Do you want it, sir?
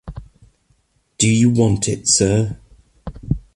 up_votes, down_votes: 2, 0